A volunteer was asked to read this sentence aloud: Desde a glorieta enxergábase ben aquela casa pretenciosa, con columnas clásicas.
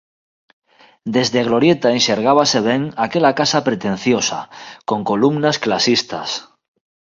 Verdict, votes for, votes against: rejected, 1, 2